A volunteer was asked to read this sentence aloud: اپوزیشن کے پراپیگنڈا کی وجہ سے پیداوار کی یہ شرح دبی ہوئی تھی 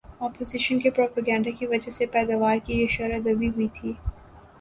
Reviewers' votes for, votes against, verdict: 2, 0, accepted